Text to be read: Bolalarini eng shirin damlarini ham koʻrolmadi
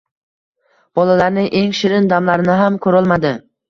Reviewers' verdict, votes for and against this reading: accepted, 2, 0